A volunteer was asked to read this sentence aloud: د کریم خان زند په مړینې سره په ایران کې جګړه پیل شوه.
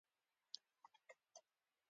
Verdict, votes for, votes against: rejected, 1, 2